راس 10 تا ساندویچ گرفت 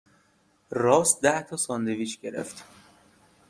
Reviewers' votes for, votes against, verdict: 0, 2, rejected